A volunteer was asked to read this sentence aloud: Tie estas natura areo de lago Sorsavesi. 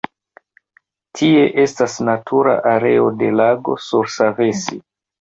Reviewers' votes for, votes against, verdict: 1, 2, rejected